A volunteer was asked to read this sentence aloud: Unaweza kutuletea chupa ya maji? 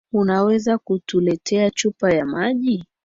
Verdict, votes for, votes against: accepted, 2, 1